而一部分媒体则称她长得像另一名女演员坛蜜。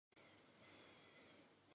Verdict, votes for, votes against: rejected, 0, 3